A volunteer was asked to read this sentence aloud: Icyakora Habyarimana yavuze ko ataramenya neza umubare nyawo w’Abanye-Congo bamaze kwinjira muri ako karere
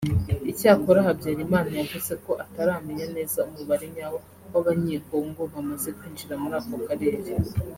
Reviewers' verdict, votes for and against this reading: accepted, 2, 1